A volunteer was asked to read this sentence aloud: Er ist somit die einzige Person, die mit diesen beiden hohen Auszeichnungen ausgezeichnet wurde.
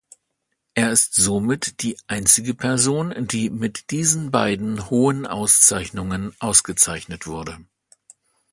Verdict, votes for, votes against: accepted, 2, 0